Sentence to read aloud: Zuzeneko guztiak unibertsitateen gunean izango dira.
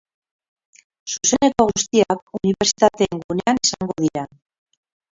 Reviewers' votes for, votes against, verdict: 0, 4, rejected